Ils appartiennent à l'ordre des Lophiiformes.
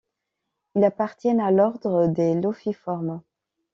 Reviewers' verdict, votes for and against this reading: accepted, 2, 0